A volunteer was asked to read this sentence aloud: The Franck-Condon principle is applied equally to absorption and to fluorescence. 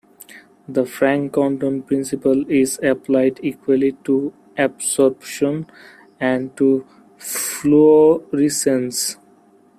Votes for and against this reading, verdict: 0, 2, rejected